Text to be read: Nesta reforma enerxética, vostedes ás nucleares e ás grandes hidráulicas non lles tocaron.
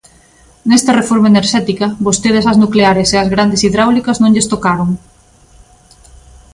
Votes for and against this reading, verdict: 2, 0, accepted